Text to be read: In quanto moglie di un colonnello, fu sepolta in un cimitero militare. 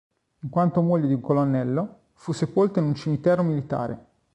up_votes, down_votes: 2, 1